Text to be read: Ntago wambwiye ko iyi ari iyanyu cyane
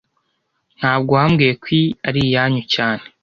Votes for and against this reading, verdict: 2, 0, accepted